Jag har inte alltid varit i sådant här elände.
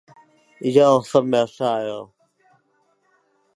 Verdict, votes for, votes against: rejected, 0, 2